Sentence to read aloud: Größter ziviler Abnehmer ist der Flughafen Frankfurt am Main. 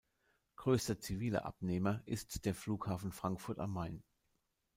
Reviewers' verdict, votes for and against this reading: accepted, 2, 0